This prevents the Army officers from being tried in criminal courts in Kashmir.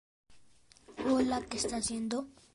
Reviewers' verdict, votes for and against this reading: rejected, 1, 2